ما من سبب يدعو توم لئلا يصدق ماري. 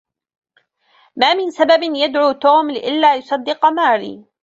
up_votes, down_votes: 3, 2